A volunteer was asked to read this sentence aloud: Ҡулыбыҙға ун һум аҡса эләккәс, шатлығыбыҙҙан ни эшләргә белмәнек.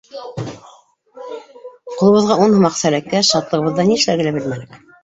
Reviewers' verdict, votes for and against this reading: rejected, 1, 2